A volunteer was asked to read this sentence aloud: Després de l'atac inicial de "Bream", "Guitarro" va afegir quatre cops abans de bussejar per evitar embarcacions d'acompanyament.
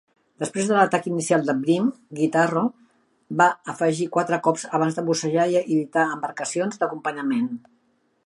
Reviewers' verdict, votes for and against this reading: rejected, 1, 2